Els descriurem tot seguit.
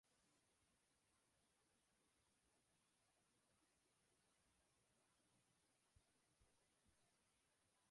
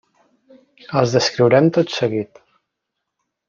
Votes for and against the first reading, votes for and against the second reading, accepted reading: 0, 2, 3, 0, second